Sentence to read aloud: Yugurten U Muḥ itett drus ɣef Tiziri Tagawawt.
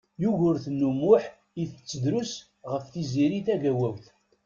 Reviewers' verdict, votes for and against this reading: accepted, 2, 0